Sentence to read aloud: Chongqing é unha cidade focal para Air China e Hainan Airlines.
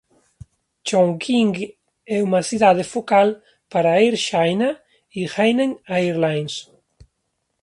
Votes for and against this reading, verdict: 0, 2, rejected